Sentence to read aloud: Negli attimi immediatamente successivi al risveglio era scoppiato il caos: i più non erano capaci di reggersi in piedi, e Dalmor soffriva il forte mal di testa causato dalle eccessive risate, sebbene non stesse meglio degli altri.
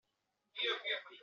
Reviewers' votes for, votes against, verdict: 0, 2, rejected